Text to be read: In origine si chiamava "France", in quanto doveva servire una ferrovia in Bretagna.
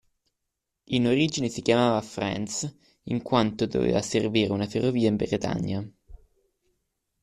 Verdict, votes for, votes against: accepted, 2, 1